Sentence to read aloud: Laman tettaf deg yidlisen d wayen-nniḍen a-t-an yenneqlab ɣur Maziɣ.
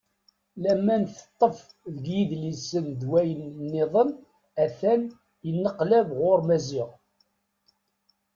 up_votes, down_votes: 0, 2